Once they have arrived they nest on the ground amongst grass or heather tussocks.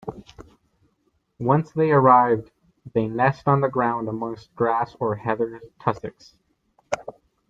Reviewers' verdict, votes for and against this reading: rejected, 0, 2